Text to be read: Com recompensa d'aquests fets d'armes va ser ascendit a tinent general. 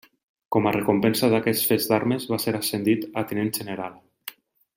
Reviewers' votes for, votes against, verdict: 1, 2, rejected